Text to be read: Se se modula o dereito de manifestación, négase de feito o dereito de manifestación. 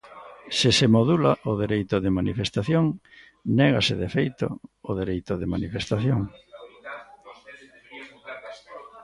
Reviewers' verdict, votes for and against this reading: rejected, 1, 2